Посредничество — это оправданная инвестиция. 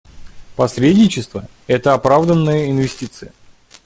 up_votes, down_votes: 2, 0